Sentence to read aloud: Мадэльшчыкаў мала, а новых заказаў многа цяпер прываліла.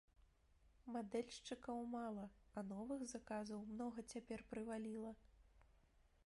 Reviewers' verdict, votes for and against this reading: rejected, 0, 2